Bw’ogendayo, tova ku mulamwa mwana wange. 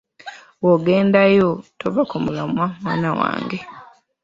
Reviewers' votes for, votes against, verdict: 2, 0, accepted